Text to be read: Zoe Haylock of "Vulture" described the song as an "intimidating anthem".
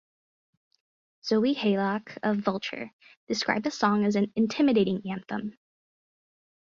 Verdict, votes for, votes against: rejected, 2, 2